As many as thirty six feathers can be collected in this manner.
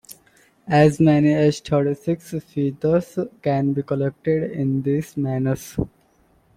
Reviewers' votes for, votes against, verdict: 0, 2, rejected